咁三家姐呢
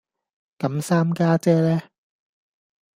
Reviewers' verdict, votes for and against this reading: accepted, 2, 0